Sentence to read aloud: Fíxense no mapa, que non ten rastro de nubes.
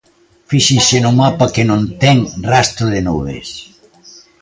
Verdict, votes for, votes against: accepted, 2, 0